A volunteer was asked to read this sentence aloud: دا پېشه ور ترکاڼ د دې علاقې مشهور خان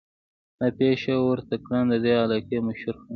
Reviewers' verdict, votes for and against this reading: accepted, 3, 0